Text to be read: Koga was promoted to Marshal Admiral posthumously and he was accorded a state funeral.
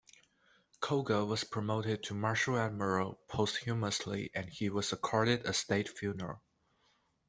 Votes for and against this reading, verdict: 2, 0, accepted